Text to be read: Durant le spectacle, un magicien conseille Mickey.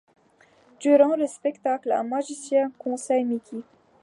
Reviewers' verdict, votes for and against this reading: rejected, 1, 2